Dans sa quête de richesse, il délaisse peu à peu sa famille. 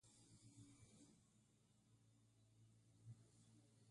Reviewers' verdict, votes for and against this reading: rejected, 0, 2